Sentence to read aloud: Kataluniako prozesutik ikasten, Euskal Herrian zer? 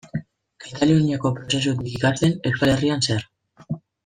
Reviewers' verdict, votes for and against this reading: rejected, 1, 2